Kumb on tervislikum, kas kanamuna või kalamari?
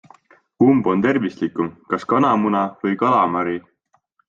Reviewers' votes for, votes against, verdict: 2, 0, accepted